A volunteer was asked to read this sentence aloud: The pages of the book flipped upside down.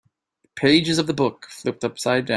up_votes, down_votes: 0, 2